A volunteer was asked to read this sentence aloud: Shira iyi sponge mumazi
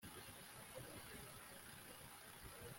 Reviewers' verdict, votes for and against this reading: rejected, 1, 2